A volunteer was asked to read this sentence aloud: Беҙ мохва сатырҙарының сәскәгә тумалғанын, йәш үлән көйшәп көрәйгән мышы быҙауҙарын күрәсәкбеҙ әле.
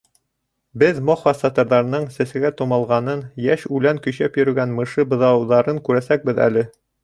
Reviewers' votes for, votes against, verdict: 2, 1, accepted